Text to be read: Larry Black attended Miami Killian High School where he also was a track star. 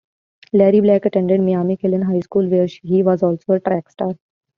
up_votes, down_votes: 0, 2